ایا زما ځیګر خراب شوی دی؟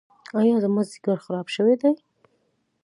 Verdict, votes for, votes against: accepted, 2, 0